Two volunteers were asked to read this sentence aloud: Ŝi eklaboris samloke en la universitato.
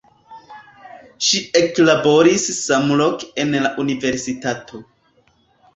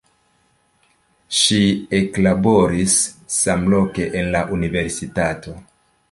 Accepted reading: second